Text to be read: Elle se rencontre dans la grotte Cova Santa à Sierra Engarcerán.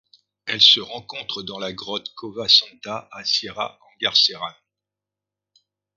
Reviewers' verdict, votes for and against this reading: accepted, 2, 0